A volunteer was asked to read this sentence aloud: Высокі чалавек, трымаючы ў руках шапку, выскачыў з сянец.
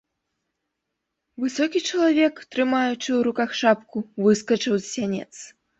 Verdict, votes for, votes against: accepted, 2, 0